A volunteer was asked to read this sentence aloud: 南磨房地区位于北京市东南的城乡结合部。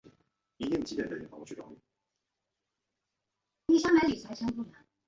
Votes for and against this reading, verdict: 0, 2, rejected